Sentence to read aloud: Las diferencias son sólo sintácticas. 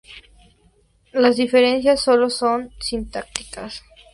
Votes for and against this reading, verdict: 2, 0, accepted